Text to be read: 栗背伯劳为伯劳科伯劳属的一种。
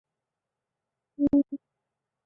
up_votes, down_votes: 0, 3